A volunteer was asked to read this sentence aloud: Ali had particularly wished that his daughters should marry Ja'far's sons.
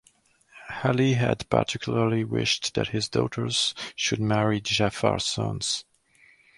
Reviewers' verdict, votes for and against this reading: accepted, 2, 0